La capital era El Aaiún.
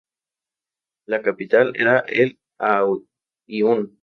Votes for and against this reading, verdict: 0, 2, rejected